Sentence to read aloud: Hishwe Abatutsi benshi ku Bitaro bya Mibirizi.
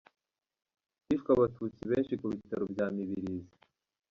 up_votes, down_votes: 1, 2